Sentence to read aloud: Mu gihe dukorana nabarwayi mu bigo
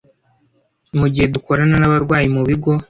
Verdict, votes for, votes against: accepted, 2, 0